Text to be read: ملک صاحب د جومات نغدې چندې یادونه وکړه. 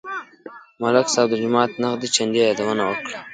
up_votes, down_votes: 1, 2